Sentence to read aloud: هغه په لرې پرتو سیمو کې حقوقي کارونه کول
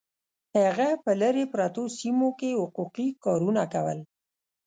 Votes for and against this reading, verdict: 1, 2, rejected